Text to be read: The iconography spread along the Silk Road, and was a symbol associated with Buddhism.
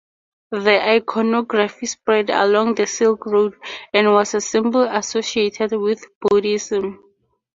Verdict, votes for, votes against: accepted, 2, 0